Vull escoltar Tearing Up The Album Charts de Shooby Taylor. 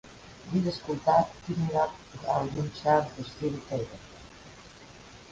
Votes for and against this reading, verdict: 0, 3, rejected